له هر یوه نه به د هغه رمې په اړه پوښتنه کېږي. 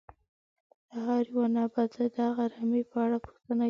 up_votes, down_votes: 0, 2